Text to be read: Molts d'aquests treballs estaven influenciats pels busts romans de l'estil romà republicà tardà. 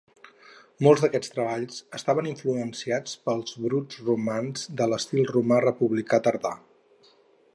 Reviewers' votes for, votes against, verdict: 2, 2, rejected